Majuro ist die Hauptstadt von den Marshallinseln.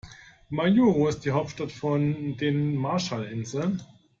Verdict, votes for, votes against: accepted, 2, 0